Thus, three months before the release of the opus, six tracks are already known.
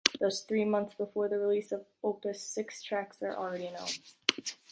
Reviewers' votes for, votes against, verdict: 2, 3, rejected